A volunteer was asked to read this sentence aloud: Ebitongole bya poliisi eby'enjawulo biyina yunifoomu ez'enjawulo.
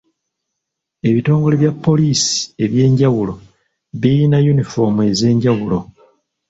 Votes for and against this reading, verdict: 2, 0, accepted